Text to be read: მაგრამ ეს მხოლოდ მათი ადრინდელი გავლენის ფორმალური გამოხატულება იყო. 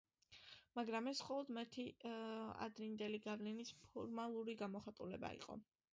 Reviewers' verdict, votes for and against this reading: accepted, 2, 0